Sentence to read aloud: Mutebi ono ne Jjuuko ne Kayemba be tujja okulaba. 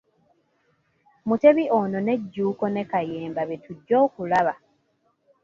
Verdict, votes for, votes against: rejected, 1, 2